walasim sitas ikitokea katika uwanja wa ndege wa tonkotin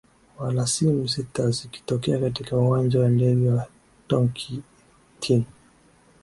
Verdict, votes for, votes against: rejected, 0, 2